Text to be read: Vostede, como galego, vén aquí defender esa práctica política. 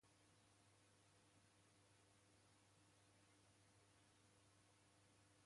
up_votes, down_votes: 0, 2